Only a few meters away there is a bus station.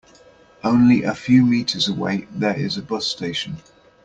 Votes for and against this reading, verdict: 2, 0, accepted